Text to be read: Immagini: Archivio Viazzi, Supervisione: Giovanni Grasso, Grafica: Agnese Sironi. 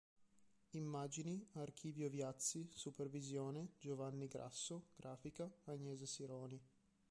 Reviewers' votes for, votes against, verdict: 2, 1, accepted